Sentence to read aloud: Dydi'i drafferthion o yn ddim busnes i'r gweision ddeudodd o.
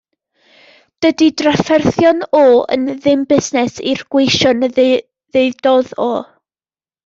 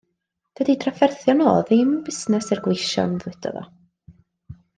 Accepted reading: second